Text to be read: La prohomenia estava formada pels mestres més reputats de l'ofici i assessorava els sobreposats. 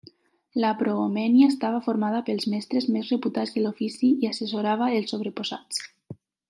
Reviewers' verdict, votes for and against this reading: rejected, 0, 2